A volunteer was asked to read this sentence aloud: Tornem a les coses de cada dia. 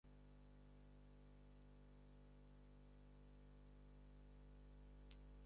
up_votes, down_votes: 0, 6